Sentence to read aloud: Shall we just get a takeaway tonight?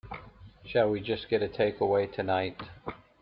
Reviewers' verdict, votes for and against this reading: accepted, 2, 0